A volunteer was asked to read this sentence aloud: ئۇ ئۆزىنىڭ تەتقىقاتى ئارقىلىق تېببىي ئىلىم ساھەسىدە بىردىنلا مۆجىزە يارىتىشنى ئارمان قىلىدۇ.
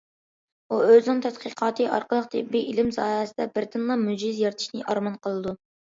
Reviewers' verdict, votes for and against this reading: accepted, 2, 0